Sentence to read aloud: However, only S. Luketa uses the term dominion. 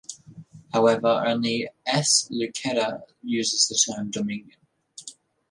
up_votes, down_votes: 2, 0